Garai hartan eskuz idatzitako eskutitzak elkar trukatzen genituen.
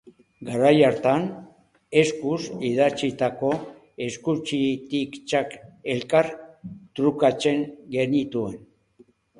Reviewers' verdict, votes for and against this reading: rejected, 0, 2